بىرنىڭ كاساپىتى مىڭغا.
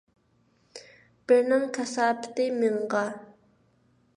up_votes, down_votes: 2, 0